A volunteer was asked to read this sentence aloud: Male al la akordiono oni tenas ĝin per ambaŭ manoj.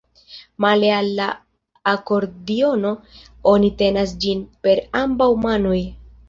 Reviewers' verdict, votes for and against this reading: accepted, 2, 1